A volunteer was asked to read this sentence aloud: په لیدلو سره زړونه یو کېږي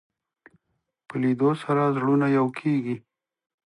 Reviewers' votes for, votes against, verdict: 2, 0, accepted